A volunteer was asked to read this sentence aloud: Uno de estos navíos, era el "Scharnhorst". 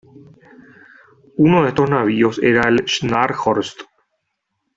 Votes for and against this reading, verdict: 2, 0, accepted